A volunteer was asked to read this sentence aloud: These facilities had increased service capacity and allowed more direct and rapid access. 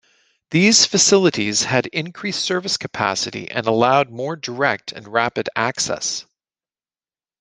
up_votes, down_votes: 2, 0